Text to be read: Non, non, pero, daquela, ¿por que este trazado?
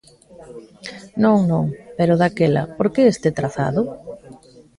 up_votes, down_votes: 2, 1